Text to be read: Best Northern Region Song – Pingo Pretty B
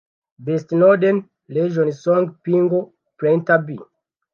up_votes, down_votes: 1, 2